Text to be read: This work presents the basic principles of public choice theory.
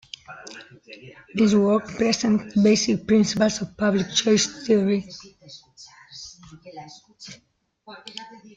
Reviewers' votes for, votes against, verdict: 2, 0, accepted